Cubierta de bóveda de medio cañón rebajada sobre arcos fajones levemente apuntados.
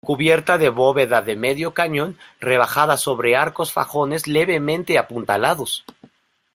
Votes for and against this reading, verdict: 1, 2, rejected